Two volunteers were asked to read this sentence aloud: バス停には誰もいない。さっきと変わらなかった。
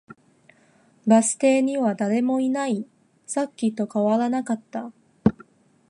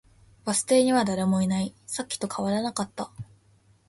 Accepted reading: second